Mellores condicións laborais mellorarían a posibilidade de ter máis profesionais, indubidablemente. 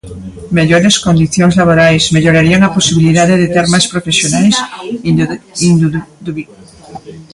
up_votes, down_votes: 0, 2